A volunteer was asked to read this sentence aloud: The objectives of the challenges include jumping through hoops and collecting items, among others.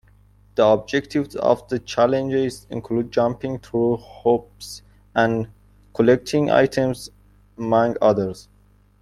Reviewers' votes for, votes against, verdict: 2, 1, accepted